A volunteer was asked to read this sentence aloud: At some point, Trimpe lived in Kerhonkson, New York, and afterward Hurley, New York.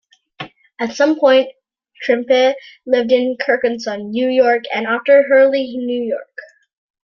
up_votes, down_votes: 0, 2